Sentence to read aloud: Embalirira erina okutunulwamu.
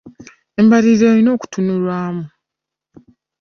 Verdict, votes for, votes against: accepted, 3, 0